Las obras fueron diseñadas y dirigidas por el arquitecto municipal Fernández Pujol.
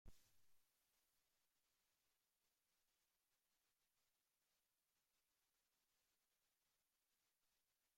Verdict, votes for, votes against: rejected, 0, 2